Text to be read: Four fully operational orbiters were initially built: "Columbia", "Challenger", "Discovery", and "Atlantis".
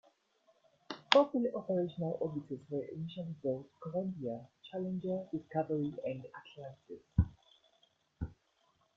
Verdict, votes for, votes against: accepted, 2, 0